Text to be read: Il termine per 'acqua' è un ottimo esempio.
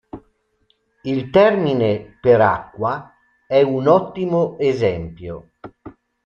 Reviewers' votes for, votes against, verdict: 2, 0, accepted